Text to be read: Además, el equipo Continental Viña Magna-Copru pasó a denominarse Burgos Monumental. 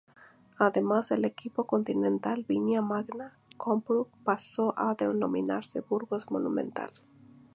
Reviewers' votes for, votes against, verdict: 2, 0, accepted